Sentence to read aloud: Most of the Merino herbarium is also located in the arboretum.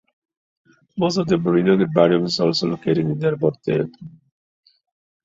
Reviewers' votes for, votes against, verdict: 2, 0, accepted